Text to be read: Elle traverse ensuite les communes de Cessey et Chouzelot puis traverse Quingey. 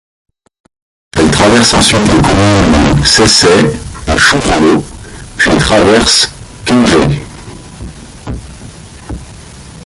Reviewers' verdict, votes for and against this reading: rejected, 1, 2